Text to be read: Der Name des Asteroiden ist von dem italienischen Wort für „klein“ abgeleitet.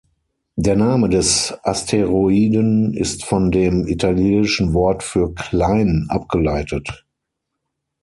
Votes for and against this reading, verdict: 3, 6, rejected